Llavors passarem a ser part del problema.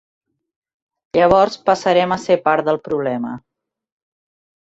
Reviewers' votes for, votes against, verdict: 4, 0, accepted